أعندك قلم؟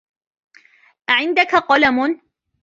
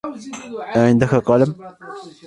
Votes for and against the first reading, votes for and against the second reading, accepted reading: 1, 2, 2, 1, second